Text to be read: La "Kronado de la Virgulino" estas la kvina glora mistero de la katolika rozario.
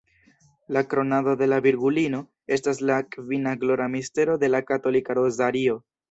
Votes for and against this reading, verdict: 2, 1, accepted